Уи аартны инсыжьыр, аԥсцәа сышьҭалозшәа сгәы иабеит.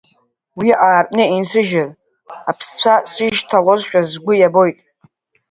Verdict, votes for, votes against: rejected, 1, 2